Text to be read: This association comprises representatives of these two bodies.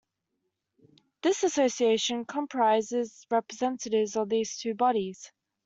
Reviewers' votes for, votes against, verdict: 2, 0, accepted